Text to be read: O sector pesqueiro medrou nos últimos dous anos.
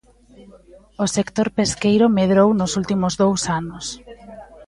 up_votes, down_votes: 2, 0